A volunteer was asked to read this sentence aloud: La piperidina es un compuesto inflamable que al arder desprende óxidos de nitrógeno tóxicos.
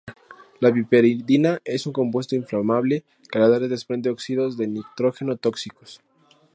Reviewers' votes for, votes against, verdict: 2, 0, accepted